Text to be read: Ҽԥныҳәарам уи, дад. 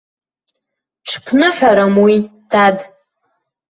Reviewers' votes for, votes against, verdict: 2, 0, accepted